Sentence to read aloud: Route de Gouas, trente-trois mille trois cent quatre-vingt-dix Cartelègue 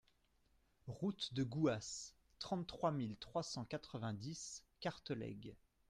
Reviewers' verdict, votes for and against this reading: accepted, 2, 0